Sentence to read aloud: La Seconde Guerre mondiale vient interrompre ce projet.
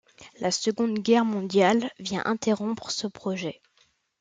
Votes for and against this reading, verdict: 2, 0, accepted